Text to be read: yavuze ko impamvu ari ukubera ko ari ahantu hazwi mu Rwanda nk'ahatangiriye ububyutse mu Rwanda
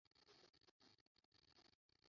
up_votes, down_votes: 0, 2